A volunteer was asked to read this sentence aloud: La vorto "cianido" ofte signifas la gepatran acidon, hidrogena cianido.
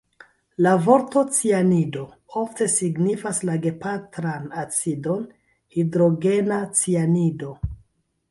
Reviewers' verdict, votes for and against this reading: rejected, 1, 2